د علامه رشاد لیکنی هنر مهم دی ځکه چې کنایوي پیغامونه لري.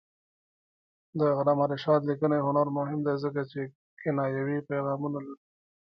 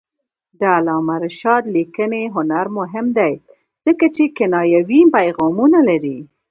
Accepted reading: first